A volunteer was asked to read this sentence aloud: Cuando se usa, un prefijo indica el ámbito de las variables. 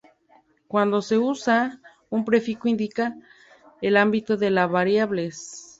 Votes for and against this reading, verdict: 0, 2, rejected